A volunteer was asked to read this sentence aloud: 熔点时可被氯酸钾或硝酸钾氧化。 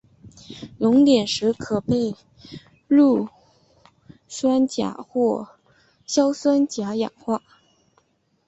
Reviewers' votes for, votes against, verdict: 5, 0, accepted